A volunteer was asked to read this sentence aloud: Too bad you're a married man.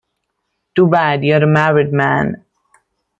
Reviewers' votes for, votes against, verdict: 1, 2, rejected